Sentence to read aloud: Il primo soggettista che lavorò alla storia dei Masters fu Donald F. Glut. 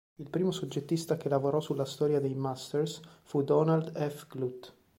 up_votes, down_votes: 2, 1